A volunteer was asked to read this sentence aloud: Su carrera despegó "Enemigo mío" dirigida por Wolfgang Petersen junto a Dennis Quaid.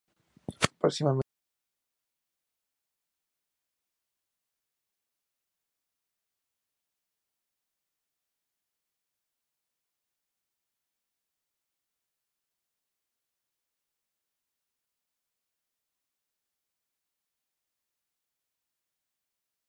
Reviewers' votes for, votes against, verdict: 0, 2, rejected